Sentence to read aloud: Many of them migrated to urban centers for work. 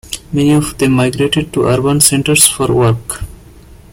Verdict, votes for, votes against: accepted, 2, 0